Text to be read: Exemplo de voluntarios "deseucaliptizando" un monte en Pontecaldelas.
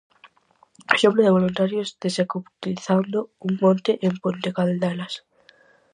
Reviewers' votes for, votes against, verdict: 0, 4, rejected